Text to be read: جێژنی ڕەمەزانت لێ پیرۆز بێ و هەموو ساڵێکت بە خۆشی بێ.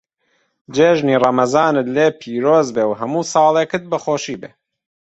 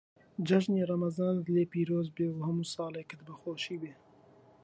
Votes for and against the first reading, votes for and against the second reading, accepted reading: 2, 0, 0, 2, first